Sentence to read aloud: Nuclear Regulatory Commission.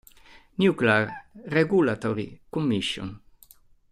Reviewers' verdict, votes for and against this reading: rejected, 1, 2